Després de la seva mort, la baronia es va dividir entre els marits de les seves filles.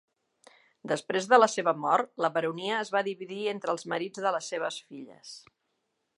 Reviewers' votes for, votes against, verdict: 3, 0, accepted